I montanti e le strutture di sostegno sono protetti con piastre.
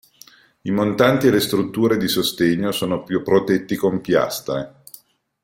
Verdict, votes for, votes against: rejected, 0, 2